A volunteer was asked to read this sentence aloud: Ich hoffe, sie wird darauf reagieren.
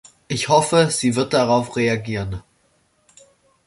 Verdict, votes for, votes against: accepted, 2, 0